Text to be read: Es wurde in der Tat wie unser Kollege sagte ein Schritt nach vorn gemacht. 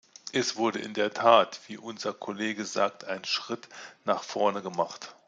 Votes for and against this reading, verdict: 0, 2, rejected